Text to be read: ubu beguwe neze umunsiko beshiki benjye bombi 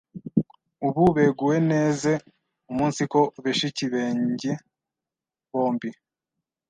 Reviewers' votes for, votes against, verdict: 1, 2, rejected